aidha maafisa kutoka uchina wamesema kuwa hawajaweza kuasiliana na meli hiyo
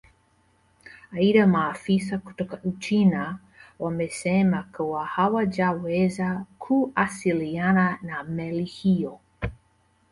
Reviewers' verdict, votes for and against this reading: rejected, 0, 2